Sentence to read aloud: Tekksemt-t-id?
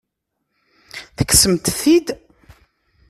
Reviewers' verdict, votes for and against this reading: rejected, 0, 2